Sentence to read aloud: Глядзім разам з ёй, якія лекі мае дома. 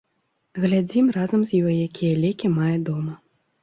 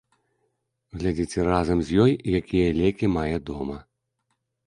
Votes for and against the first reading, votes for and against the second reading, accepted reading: 2, 0, 0, 2, first